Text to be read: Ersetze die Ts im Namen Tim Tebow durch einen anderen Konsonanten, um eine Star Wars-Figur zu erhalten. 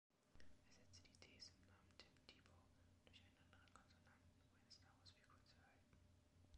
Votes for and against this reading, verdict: 1, 3, rejected